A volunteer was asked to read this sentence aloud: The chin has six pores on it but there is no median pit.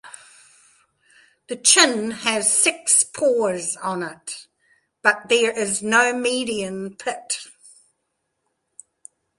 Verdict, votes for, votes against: accepted, 2, 0